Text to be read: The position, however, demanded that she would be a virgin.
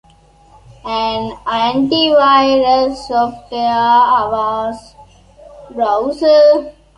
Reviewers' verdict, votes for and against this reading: rejected, 0, 2